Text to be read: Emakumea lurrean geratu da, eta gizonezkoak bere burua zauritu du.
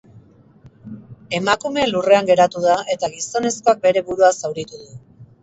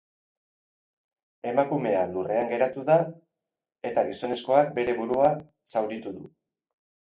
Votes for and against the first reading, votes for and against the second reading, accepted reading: 2, 0, 0, 2, first